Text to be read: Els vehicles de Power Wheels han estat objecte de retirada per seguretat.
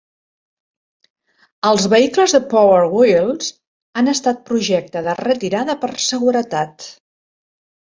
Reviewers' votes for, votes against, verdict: 0, 2, rejected